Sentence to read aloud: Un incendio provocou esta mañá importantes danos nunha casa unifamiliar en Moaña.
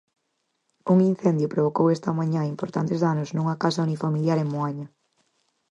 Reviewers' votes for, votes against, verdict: 4, 0, accepted